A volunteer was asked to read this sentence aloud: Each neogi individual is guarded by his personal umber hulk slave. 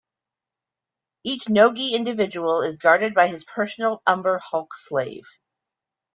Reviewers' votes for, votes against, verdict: 2, 0, accepted